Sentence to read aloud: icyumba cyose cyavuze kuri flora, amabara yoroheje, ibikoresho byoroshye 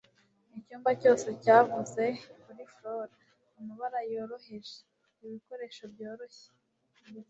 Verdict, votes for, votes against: rejected, 1, 2